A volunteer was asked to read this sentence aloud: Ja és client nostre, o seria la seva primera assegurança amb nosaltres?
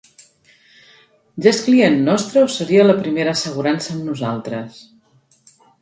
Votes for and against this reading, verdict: 2, 1, accepted